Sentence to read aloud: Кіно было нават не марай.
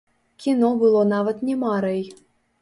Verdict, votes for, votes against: rejected, 0, 2